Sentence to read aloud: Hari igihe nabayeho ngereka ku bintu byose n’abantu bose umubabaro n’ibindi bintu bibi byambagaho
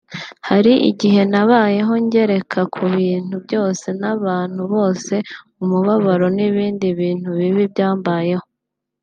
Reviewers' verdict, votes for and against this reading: rejected, 1, 2